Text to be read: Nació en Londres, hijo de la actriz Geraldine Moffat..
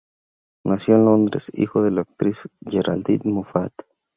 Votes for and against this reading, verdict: 4, 0, accepted